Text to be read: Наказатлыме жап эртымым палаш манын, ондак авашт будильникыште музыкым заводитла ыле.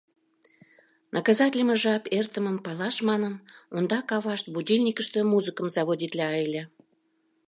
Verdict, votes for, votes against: accepted, 2, 0